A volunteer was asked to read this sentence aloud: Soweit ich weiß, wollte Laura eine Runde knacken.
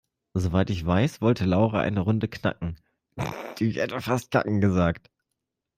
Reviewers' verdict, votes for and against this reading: rejected, 0, 2